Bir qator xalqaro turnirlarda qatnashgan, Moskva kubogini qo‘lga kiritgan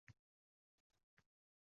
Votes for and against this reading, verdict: 0, 2, rejected